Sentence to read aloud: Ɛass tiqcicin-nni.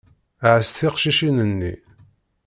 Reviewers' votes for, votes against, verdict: 2, 0, accepted